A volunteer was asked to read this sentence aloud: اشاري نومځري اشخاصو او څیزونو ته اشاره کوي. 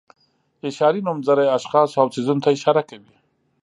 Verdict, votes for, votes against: accepted, 2, 0